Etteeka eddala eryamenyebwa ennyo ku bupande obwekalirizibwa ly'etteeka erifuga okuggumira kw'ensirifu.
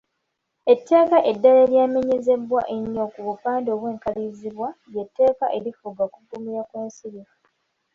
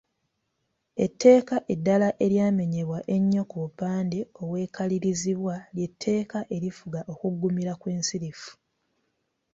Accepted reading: second